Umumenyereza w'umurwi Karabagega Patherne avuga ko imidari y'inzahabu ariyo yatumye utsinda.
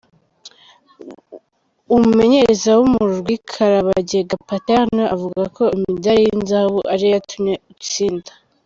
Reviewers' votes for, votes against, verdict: 1, 3, rejected